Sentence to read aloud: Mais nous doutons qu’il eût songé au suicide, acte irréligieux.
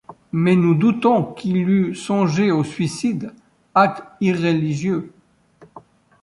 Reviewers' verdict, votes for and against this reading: accepted, 2, 0